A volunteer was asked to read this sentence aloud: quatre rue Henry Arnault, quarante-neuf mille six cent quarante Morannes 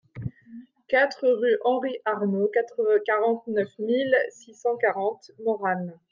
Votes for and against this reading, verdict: 0, 2, rejected